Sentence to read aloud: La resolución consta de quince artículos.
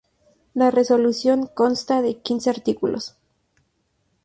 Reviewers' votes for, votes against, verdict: 2, 0, accepted